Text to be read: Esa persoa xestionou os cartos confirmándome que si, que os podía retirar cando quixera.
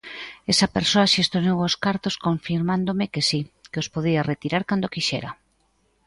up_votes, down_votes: 2, 0